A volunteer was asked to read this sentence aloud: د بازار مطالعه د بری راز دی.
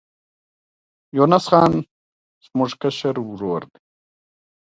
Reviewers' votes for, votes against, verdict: 2, 1, accepted